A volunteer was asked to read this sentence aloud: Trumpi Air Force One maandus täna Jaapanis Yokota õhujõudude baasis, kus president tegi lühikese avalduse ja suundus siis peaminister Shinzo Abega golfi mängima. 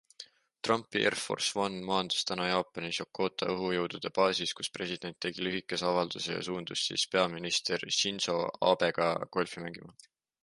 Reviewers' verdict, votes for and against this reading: accepted, 2, 0